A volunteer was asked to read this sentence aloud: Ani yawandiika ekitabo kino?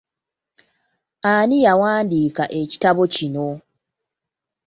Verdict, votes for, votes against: accepted, 2, 0